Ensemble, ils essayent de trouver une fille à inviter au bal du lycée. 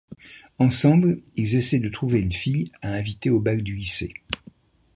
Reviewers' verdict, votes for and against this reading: accepted, 2, 0